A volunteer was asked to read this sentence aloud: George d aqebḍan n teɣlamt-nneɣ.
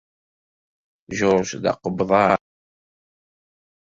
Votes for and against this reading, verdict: 0, 2, rejected